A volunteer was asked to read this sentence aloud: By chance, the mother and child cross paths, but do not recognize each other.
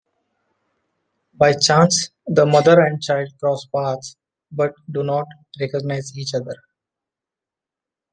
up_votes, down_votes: 2, 0